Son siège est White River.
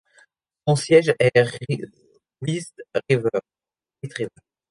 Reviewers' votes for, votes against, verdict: 0, 2, rejected